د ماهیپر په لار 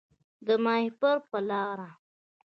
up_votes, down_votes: 2, 0